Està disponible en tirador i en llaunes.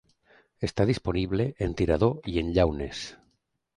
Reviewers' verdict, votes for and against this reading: accepted, 3, 0